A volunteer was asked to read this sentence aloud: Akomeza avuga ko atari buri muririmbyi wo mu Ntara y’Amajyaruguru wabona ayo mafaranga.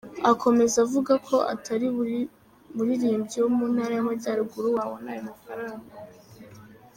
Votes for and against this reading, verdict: 1, 2, rejected